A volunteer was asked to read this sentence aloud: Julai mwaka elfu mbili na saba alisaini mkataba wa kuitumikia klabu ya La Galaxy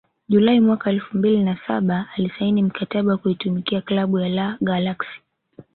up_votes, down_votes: 0, 2